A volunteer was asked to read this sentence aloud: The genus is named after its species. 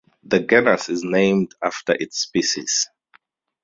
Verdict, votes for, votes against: rejected, 0, 2